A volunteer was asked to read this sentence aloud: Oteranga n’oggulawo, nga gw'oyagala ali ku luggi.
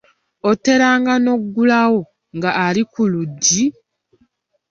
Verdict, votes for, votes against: rejected, 1, 2